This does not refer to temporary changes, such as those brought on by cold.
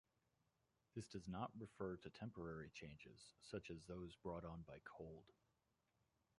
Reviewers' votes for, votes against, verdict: 1, 2, rejected